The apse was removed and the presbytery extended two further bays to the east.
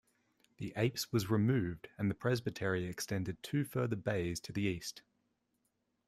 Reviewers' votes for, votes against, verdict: 2, 0, accepted